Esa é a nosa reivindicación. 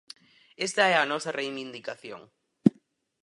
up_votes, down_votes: 0, 4